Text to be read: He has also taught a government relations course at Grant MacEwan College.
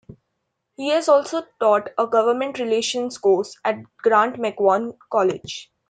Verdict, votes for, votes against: rejected, 0, 2